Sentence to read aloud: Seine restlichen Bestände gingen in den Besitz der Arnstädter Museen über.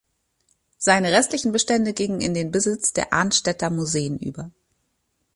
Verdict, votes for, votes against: accepted, 2, 0